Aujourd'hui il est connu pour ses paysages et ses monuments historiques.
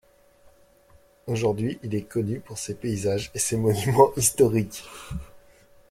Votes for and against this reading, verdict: 0, 2, rejected